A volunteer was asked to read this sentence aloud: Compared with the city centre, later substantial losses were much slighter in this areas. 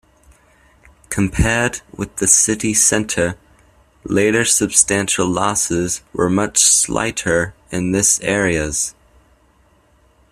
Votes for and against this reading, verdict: 2, 0, accepted